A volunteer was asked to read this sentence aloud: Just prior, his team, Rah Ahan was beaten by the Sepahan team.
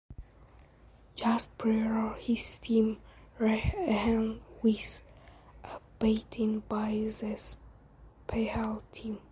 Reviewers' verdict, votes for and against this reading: rejected, 1, 2